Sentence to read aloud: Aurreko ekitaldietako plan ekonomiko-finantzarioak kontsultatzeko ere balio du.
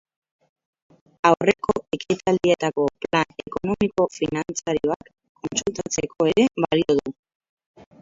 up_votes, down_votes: 0, 4